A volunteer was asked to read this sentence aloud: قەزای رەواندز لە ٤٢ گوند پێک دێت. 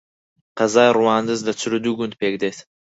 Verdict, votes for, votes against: rejected, 0, 2